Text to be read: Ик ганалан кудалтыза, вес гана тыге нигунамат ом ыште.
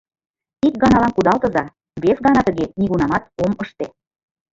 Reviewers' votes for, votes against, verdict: 0, 2, rejected